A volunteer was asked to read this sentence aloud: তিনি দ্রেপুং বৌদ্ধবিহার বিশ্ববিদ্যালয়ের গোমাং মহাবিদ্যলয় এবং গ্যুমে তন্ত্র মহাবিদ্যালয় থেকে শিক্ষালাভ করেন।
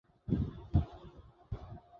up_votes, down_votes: 0, 2